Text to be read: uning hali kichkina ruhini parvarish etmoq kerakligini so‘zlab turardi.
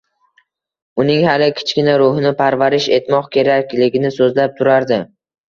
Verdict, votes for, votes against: accepted, 2, 1